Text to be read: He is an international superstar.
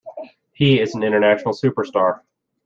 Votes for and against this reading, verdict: 2, 0, accepted